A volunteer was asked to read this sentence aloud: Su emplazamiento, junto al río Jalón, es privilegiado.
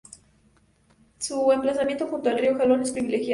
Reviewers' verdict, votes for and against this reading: rejected, 2, 2